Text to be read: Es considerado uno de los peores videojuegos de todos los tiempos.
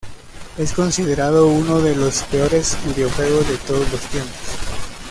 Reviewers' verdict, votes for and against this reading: accepted, 2, 1